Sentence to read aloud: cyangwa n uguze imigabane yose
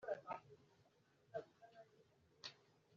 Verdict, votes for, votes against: rejected, 1, 2